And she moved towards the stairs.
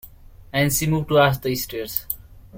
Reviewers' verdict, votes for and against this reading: rejected, 1, 2